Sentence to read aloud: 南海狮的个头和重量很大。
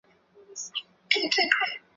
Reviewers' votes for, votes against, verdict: 0, 2, rejected